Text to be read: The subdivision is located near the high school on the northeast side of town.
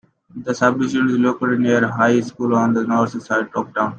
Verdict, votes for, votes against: accepted, 2, 1